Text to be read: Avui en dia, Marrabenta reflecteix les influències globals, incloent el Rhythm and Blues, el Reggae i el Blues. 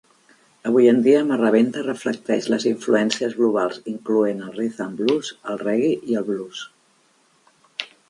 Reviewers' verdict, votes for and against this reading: accepted, 3, 0